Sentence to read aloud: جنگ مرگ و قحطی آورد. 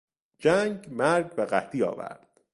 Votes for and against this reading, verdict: 3, 0, accepted